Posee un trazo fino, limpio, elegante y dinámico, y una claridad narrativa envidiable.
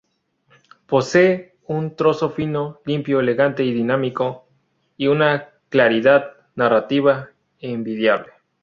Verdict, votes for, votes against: rejected, 0, 2